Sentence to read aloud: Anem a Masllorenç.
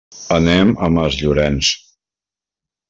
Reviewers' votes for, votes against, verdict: 3, 0, accepted